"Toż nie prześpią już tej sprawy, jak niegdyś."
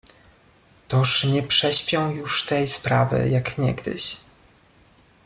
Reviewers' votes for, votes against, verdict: 2, 0, accepted